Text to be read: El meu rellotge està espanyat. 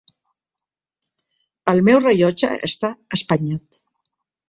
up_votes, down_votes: 2, 1